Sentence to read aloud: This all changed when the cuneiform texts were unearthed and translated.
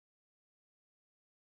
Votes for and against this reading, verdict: 0, 2, rejected